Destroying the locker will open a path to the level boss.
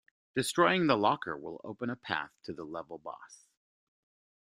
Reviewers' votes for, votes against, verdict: 0, 2, rejected